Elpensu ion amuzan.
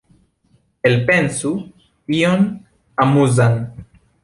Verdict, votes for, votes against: accepted, 2, 0